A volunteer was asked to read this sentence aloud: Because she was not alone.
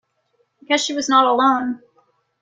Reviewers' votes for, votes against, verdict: 0, 2, rejected